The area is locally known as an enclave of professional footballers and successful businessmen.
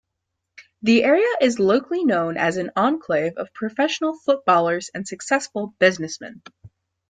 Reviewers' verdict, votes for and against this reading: accepted, 2, 1